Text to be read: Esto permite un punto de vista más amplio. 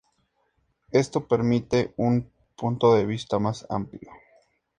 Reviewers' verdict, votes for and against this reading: accepted, 4, 0